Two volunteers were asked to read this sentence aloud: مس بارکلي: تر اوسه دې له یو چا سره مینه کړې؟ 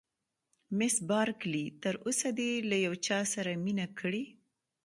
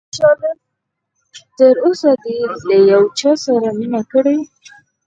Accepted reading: first